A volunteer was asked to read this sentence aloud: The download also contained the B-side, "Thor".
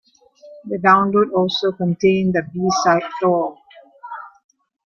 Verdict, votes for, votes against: rejected, 1, 2